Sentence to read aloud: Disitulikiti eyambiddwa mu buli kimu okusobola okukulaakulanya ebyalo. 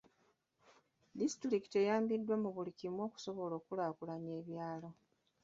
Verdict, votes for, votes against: rejected, 1, 2